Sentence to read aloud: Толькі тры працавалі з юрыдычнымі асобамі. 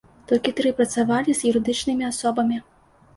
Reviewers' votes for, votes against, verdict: 2, 0, accepted